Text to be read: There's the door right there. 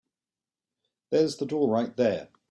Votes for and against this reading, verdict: 2, 0, accepted